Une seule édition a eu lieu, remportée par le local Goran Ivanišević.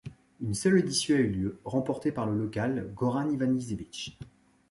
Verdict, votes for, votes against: rejected, 0, 2